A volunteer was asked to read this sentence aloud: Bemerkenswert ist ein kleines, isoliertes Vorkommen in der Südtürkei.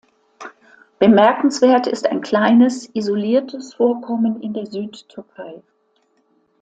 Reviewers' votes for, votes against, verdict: 2, 0, accepted